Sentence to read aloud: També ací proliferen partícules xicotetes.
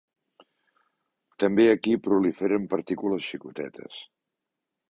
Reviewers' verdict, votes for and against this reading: rejected, 0, 2